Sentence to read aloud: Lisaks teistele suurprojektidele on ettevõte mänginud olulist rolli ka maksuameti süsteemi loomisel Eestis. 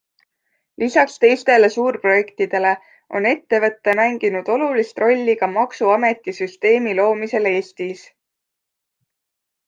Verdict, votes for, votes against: accepted, 2, 0